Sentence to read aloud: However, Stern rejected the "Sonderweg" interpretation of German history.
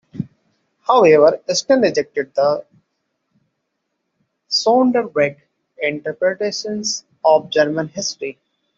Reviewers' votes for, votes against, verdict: 0, 2, rejected